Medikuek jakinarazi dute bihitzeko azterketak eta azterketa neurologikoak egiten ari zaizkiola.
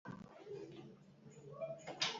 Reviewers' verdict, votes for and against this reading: rejected, 0, 4